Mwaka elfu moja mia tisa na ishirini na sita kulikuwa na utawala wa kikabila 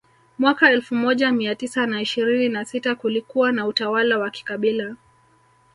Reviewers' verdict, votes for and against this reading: rejected, 1, 2